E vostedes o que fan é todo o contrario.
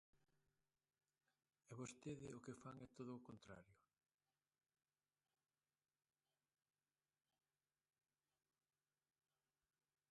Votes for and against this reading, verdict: 0, 2, rejected